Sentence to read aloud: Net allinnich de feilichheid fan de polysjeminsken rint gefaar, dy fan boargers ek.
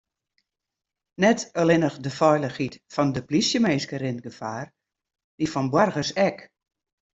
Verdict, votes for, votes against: accepted, 2, 0